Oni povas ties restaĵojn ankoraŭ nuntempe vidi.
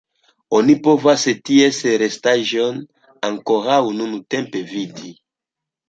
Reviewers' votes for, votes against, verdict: 2, 1, accepted